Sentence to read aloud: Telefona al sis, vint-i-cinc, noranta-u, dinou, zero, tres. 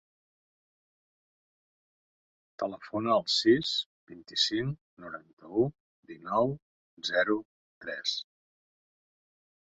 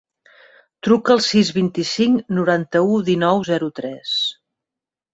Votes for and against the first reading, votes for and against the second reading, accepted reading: 4, 2, 1, 2, first